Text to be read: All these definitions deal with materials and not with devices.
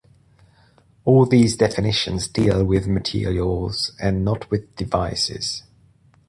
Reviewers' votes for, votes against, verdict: 2, 0, accepted